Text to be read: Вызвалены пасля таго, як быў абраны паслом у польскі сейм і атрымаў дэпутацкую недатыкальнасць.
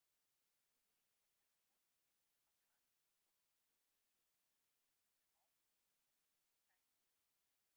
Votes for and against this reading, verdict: 0, 2, rejected